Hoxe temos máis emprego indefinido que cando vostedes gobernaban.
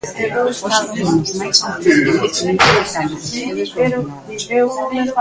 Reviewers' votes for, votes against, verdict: 0, 2, rejected